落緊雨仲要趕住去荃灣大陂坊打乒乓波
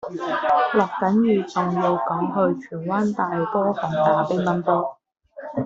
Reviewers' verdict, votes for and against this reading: rejected, 0, 2